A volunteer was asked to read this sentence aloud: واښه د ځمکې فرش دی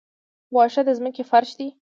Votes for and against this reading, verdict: 2, 0, accepted